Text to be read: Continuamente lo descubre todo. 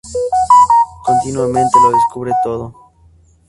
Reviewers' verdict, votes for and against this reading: accepted, 2, 0